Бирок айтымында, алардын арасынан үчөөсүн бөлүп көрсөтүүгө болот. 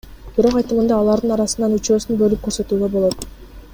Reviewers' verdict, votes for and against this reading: accepted, 2, 0